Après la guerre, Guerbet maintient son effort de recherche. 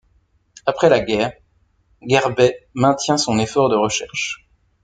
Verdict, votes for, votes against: accepted, 2, 0